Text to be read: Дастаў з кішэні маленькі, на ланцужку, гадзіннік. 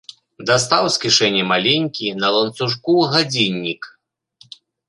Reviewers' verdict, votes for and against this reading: accepted, 3, 0